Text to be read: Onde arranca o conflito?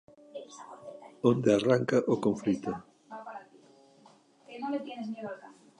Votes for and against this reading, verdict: 1, 2, rejected